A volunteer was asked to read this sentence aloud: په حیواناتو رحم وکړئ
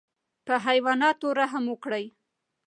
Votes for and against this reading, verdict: 2, 1, accepted